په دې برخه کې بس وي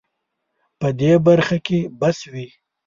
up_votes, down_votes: 2, 0